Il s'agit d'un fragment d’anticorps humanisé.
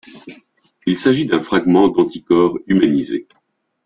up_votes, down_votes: 2, 0